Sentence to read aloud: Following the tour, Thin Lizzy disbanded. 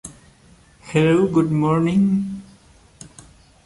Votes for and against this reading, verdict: 0, 2, rejected